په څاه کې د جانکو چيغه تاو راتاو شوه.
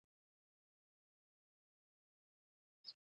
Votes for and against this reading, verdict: 1, 2, rejected